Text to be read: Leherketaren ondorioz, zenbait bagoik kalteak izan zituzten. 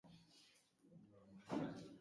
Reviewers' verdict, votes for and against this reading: rejected, 0, 3